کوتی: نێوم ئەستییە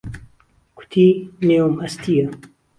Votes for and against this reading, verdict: 2, 0, accepted